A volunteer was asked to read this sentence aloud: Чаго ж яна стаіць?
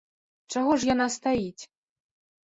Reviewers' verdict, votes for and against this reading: accepted, 2, 0